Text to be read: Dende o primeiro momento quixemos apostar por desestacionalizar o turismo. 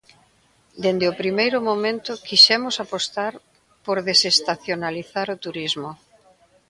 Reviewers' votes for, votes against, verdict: 2, 1, accepted